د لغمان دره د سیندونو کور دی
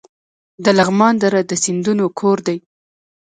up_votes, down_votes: 1, 2